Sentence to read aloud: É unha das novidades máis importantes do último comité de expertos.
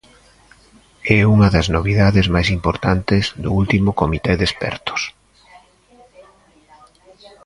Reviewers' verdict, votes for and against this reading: rejected, 0, 2